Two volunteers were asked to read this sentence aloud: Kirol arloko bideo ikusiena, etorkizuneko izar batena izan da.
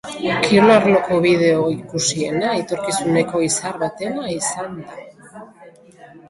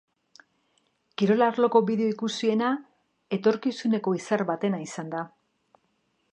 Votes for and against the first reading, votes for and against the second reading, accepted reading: 0, 2, 2, 0, second